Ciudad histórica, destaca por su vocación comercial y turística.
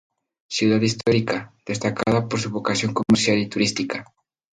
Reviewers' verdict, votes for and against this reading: rejected, 2, 2